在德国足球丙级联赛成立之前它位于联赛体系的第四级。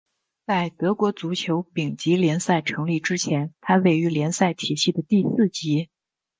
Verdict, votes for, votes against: accepted, 2, 0